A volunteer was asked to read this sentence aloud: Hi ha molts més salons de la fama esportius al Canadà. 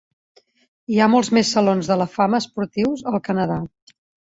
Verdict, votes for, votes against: accepted, 5, 0